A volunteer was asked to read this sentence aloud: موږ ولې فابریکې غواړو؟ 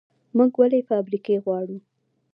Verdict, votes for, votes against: accepted, 2, 1